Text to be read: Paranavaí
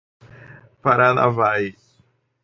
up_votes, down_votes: 0, 2